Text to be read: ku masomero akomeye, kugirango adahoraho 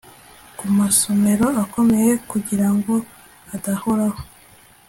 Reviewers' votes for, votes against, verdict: 2, 0, accepted